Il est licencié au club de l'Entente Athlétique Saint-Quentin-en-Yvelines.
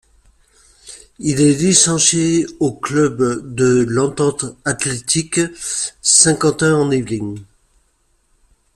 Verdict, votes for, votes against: accepted, 2, 0